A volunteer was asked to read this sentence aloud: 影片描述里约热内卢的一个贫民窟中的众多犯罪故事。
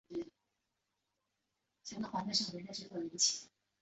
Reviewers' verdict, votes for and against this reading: rejected, 1, 2